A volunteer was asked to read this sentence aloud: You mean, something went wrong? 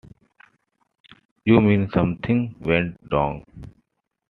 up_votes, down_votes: 2, 1